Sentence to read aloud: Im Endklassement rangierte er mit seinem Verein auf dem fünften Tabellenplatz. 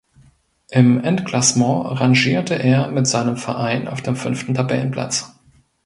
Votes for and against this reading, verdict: 2, 0, accepted